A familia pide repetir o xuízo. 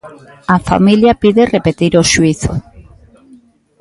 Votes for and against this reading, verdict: 2, 1, accepted